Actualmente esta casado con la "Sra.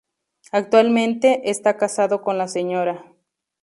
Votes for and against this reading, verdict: 4, 0, accepted